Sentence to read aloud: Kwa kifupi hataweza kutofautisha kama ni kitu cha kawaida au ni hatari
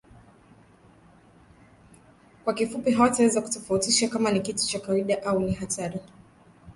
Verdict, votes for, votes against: rejected, 0, 2